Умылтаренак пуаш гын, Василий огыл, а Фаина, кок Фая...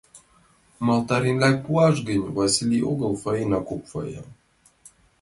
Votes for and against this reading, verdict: 0, 2, rejected